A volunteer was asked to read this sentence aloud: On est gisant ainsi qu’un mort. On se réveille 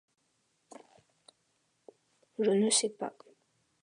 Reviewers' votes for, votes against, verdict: 0, 2, rejected